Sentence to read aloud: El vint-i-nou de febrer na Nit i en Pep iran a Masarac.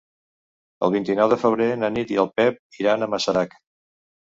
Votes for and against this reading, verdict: 0, 2, rejected